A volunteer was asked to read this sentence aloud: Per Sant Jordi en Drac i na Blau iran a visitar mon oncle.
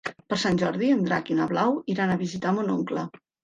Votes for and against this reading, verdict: 3, 0, accepted